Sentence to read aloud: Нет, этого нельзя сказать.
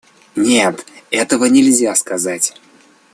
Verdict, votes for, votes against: accepted, 2, 0